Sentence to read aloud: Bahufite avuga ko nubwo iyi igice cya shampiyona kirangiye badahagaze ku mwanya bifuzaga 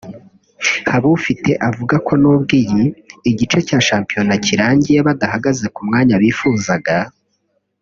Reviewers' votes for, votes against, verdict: 1, 2, rejected